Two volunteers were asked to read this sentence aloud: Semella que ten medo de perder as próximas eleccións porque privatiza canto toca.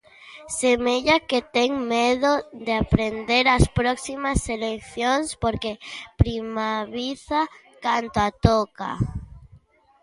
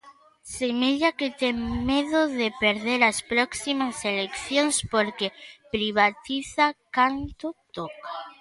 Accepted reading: second